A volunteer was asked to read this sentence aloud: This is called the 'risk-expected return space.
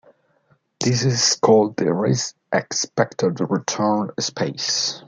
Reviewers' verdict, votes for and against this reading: rejected, 1, 2